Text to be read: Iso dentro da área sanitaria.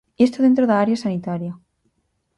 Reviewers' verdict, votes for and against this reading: rejected, 0, 4